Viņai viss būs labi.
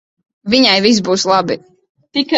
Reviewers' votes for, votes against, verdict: 0, 2, rejected